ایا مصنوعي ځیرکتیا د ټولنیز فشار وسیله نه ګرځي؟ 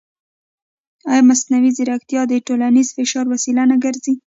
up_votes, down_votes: 1, 2